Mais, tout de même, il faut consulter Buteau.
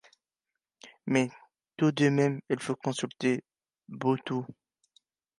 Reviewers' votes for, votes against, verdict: 1, 2, rejected